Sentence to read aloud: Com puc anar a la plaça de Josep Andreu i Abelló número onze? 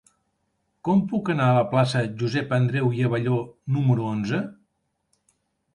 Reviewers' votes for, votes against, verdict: 0, 2, rejected